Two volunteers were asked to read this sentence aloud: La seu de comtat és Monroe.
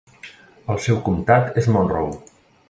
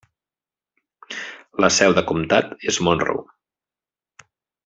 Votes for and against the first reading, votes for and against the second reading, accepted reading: 0, 2, 3, 0, second